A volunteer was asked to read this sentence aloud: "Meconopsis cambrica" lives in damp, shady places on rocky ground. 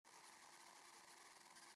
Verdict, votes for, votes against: rejected, 0, 2